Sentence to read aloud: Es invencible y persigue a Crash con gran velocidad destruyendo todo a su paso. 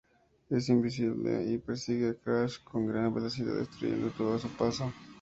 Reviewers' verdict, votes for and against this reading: rejected, 0, 2